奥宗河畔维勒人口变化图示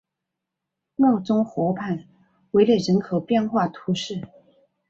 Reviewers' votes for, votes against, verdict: 2, 0, accepted